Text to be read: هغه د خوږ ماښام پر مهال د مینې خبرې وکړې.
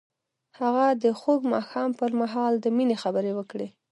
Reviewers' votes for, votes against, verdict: 2, 0, accepted